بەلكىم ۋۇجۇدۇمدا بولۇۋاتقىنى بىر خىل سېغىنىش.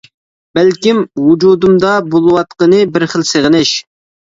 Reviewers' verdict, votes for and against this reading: accepted, 2, 0